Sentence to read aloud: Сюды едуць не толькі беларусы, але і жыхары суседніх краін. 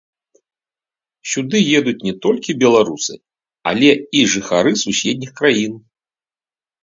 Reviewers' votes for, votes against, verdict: 0, 2, rejected